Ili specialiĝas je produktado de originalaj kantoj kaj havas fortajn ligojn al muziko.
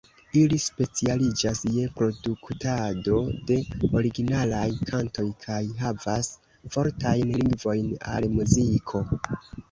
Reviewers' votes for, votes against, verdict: 1, 2, rejected